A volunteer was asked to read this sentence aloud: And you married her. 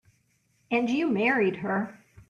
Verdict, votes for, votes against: accepted, 2, 0